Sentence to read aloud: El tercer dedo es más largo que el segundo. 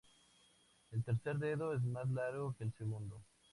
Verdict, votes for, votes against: accepted, 8, 2